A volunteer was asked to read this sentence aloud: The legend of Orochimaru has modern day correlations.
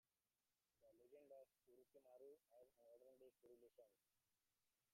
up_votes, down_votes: 0, 3